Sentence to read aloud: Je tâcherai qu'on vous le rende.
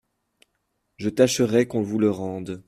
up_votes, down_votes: 2, 0